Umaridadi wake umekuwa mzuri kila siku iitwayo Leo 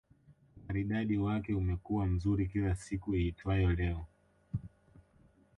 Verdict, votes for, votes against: rejected, 1, 2